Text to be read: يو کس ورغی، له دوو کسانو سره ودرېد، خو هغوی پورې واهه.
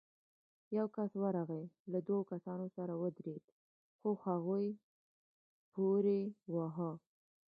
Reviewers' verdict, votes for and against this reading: rejected, 1, 2